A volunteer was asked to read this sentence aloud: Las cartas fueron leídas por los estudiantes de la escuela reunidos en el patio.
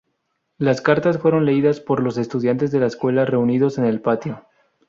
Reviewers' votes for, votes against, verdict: 0, 2, rejected